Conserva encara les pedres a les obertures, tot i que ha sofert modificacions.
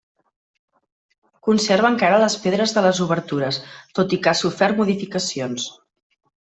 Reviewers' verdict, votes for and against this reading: rejected, 1, 2